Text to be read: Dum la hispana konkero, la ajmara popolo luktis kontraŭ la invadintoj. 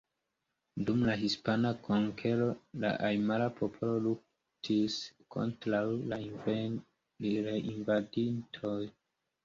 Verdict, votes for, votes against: rejected, 1, 2